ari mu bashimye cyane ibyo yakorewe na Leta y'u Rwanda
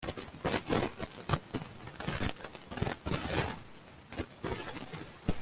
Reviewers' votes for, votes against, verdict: 0, 3, rejected